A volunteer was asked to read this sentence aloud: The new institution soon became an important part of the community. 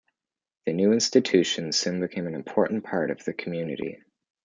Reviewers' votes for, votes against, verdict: 2, 0, accepted